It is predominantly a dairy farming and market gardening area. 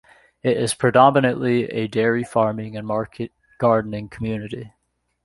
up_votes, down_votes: 0, 2